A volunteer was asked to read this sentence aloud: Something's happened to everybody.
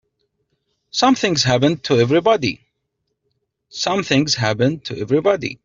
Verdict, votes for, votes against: rejected, 0, 2